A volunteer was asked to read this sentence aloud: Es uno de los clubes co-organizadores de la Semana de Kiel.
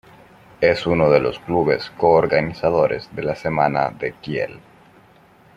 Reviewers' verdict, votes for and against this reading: rejected, 1, 2